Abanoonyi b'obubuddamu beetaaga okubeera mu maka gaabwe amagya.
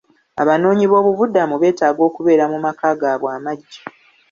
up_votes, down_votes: 2, 0